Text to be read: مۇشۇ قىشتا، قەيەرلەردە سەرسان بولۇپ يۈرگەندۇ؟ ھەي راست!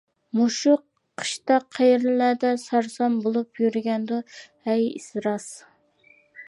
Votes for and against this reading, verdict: 0, 2, rejected